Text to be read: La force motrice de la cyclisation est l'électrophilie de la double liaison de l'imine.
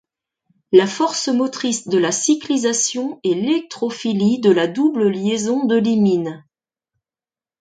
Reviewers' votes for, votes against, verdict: 2, 0, accepted